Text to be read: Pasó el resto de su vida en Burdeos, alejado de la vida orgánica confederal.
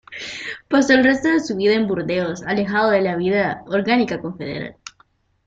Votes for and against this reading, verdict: 1, 2, rejected